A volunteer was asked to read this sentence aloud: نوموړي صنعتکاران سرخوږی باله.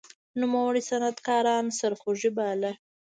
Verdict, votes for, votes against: accepted, 2, 0